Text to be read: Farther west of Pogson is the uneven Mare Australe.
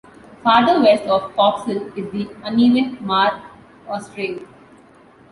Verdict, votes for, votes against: accepted, 2, 0